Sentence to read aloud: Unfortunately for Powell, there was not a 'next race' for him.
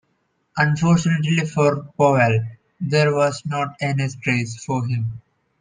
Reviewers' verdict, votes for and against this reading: accepted, 2, 0